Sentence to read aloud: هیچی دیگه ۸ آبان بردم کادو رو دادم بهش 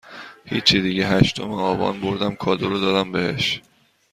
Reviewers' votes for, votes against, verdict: 0, 2, rejected